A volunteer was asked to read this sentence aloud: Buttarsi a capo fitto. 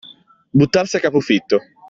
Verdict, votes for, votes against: accepted, 2, 0